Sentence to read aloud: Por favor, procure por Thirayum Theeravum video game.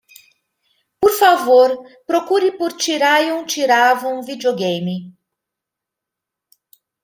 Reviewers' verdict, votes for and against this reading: accepted, 2, 0